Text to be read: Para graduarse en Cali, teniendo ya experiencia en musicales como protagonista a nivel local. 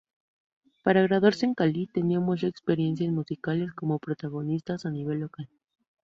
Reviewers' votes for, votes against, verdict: 0, 2, rejected